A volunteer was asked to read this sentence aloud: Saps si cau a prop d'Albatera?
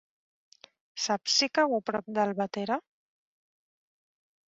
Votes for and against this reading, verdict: 3, 0, accepted